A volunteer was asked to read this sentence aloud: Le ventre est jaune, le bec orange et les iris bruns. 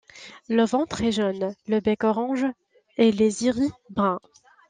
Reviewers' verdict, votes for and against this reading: rejected, 1, 2